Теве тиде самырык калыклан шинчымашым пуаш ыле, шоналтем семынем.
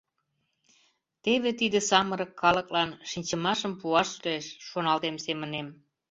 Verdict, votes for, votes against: rejected, 1, 2